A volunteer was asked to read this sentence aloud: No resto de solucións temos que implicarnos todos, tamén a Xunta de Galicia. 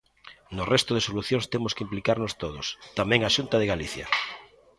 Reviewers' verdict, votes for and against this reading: accepted, 2, 0